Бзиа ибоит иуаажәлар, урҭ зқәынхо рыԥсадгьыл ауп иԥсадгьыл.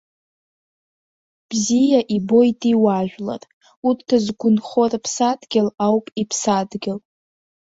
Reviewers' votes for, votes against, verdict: 2, 1, accepted